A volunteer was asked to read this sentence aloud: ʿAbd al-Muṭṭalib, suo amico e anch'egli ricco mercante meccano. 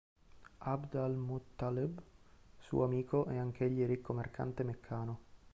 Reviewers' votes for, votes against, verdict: 2, 1, accepted